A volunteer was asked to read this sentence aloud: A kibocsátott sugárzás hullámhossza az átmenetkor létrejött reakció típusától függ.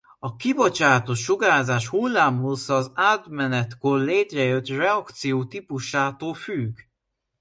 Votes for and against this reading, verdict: 2, 0, accepted